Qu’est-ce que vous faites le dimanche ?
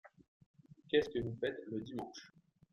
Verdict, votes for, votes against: rejected, 1, 2